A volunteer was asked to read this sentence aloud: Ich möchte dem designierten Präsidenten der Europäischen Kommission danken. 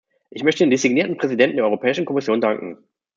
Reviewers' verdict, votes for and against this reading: rejected, 1, 2